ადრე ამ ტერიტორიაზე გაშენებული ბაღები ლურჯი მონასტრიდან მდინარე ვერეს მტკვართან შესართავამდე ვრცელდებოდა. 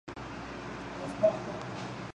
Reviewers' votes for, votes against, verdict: 1, 2, rejected